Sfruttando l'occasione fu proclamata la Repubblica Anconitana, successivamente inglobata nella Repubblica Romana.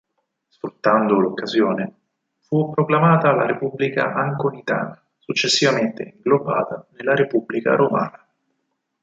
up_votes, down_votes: 2, 4